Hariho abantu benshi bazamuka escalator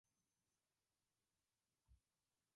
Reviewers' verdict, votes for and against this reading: rejected, 0, 2